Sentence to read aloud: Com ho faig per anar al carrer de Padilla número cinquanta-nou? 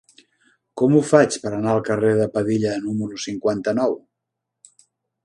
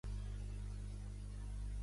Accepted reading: first